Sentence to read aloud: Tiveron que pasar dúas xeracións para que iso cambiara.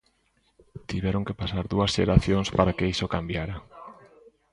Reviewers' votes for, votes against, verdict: 0, 2, rejected